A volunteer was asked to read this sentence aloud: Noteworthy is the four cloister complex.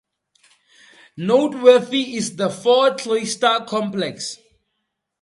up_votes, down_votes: 2, 0